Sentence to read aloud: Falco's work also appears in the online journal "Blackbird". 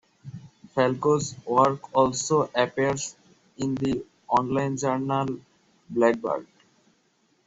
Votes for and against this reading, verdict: 2, 0, accepted